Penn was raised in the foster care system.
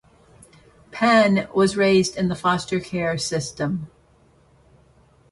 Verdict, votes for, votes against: accepted, 3, 0